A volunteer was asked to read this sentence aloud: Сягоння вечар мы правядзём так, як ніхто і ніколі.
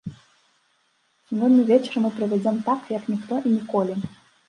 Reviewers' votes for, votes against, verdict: 1, 2, rejected